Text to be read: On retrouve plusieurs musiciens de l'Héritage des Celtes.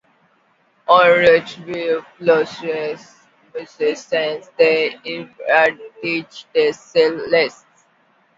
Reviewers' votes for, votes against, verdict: 0, 2, rejected